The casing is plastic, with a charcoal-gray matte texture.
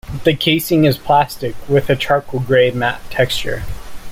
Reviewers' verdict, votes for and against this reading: accepted, 2, 0